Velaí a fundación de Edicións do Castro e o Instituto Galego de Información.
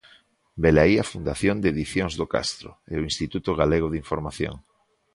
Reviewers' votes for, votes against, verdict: 2, 0, accepted